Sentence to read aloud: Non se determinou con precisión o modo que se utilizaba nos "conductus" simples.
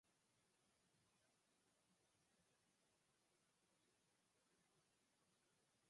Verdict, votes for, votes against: rejected, 0, 4